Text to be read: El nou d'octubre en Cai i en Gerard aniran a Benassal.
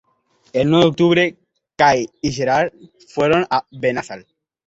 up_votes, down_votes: 1, 3